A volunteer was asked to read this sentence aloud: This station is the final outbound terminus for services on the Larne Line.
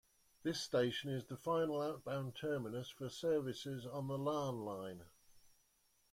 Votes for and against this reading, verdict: 2, 0, accepted